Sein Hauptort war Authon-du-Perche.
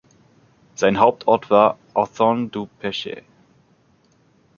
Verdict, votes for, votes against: rejected, 0, 2